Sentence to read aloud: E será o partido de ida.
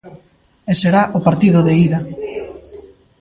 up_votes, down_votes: 2, 0